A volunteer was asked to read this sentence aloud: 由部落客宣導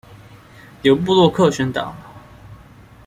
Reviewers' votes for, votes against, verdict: 2, 0, accepted